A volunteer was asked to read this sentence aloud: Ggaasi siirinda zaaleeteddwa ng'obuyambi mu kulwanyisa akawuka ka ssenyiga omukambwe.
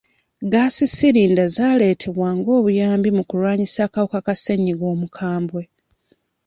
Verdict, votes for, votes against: rejected, 0, 2